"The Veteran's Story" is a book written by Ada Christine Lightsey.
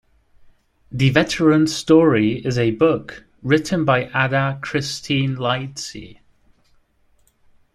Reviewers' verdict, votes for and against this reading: accepted, 2, 0